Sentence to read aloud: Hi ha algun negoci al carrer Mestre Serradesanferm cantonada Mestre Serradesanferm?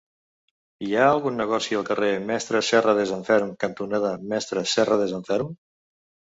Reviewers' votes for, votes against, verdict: 2, 0, accepted